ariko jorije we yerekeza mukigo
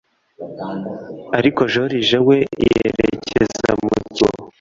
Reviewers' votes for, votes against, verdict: 1, 2, rejected